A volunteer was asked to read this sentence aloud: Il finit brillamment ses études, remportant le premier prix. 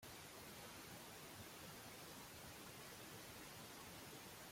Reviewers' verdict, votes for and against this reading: rejected, 0, 2